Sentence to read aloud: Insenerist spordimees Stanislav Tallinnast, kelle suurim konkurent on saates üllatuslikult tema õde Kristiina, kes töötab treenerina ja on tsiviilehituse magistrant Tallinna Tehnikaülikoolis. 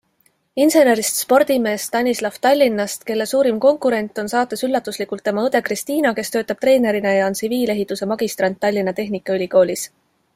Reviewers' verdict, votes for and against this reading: accepted, 2, 0